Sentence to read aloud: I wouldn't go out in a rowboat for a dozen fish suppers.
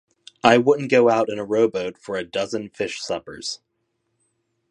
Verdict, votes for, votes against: accepted, 2, 0